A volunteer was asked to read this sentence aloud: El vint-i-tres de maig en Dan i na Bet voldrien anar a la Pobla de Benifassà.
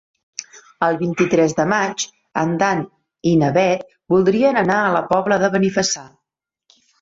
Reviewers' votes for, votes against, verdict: 2, 1, accepted